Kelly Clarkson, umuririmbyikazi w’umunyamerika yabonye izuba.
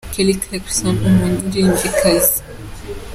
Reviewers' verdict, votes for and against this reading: rejected, 0, 2